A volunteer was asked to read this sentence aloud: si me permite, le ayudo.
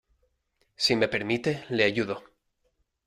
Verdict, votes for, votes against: accepted, 2, 0